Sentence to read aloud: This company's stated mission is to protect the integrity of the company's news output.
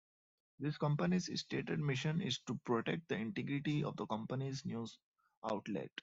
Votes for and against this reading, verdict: 0, 2, rejected